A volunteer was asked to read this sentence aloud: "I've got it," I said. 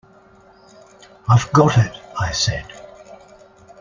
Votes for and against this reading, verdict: 2, 0, accepted